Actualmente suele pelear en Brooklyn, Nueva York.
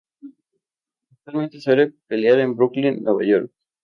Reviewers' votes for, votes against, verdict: 0, 2, rejected